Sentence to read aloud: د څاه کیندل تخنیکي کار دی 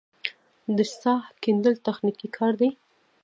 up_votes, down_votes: 2, 1